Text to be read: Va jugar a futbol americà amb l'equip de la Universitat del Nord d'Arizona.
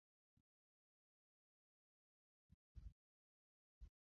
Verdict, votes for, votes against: rejected, 0, 2